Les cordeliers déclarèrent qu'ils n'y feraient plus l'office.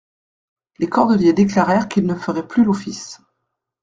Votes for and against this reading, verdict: 1, 2, rejected